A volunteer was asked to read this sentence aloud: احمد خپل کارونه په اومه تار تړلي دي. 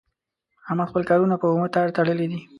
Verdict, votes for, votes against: accepted, 2, 0